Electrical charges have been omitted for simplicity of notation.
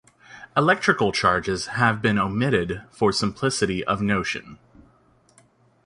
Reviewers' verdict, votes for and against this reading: rejected, 1, 2